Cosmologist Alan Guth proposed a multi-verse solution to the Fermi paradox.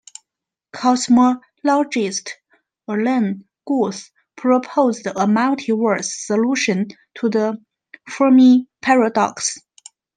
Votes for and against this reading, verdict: 2, 0, accepted